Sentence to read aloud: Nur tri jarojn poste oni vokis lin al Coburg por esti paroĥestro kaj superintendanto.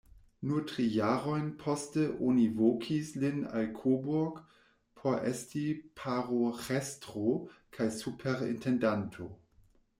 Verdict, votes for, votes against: rejected, 1, 2